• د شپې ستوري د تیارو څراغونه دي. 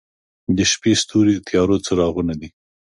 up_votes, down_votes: 2, 0